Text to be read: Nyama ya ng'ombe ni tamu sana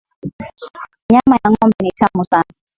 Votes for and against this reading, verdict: 2, 0, accepted